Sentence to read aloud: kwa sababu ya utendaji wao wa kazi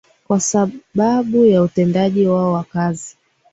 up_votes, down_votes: 3, 0